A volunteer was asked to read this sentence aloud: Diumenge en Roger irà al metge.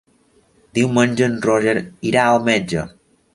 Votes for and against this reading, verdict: 4, 0, accepted